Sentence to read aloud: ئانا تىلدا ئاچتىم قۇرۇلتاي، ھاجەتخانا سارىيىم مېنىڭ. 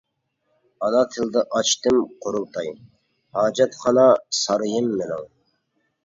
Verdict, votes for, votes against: accepted, 2, 0